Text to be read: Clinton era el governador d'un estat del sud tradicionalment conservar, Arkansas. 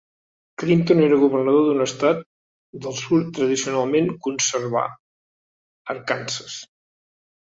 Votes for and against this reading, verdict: 1, 2, rejected